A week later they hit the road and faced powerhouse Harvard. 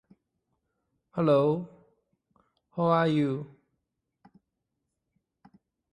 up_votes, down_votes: 0, 2